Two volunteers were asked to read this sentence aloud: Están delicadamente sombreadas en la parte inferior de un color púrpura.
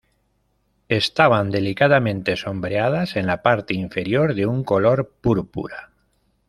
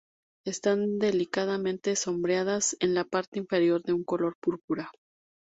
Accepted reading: second